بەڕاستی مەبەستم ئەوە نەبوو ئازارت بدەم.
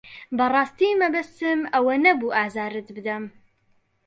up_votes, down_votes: 2, 0